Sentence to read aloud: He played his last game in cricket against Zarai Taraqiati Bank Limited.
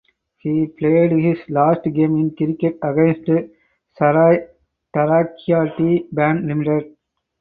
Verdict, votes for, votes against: accepted, 4, 2